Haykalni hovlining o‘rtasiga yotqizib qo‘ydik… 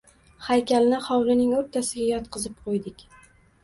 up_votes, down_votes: 2, 1